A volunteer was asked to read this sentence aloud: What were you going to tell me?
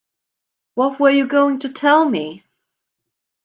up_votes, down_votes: 2, 0